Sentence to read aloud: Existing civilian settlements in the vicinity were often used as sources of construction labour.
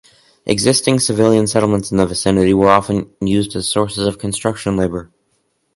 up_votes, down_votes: 2, 2